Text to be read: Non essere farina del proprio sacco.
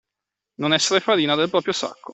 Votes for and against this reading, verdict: 2, 0, accepted